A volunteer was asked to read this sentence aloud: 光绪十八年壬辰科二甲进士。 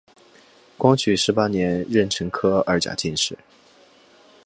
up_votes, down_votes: 5, 0